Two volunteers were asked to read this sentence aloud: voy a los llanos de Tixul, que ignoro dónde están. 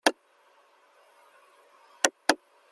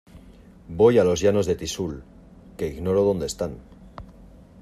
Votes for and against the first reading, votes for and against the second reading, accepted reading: 0, 2, 2, 0, second